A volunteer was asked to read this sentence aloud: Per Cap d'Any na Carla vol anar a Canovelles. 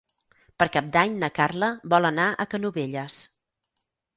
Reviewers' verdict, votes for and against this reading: accepted, 6, 0